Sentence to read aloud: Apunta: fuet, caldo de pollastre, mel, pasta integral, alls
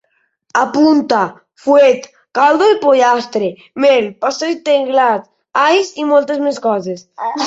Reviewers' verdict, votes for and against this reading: rejected, 0, 2